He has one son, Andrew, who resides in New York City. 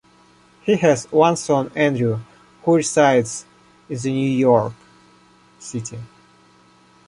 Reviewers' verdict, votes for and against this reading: rejected, 0, 2